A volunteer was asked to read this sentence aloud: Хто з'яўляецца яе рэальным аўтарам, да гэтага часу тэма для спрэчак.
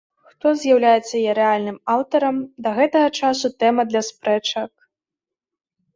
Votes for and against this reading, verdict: 2, 0, accepted